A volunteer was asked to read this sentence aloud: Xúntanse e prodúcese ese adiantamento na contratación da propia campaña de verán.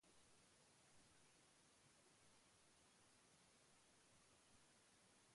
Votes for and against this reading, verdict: 0, 2, rejected